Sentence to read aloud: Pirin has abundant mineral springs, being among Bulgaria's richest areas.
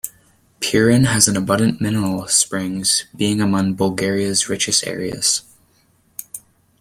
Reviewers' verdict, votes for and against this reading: rejected, 1, 2